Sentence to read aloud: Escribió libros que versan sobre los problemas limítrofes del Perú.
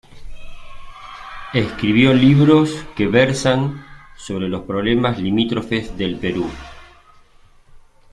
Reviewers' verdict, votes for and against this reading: accepted, 2, 1